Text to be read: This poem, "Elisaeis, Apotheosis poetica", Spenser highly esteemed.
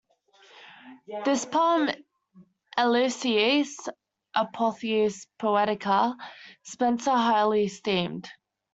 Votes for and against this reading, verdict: 0, 2, rejected